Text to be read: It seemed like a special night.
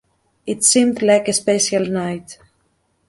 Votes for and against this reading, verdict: 2, 0, accepted